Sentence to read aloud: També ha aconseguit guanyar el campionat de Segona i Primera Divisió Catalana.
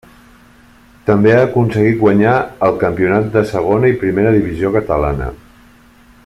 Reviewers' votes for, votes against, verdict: 3, 0, accepted